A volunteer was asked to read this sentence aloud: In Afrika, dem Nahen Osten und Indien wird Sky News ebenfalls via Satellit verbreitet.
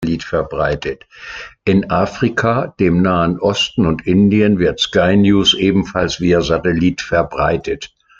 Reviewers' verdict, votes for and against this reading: rejected, 1, 2